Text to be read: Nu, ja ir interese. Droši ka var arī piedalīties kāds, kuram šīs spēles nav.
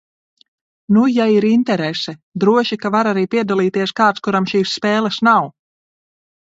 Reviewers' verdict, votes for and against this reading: accepted, 2, 0